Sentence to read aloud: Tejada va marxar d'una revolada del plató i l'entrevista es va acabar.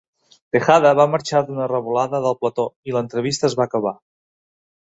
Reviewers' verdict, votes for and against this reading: accepted, 2, 0